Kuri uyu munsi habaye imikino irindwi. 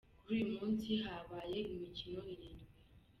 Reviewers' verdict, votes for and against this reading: accepted, 2, 0